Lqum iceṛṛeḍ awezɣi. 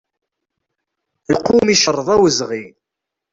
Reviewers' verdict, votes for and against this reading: rejected, 1, 2